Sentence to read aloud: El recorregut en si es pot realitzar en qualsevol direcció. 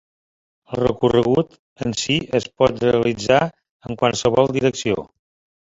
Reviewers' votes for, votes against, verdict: 4, 1, accepted